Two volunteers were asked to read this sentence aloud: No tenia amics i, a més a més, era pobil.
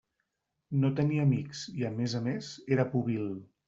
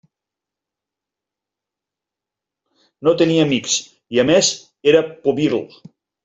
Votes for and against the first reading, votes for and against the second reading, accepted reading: 2, 0, 0, 2, first